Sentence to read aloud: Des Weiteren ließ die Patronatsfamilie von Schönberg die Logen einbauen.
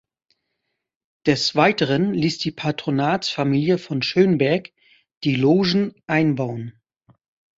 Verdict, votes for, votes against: accepted, 2, 0